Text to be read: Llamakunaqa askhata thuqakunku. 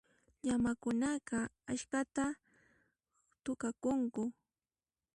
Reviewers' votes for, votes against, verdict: 1, 2, rejected